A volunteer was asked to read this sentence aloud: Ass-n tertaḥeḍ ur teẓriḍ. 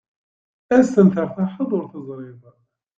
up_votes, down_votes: 0, 2